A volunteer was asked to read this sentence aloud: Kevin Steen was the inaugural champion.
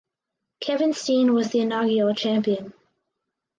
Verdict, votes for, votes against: rejected, 2, 2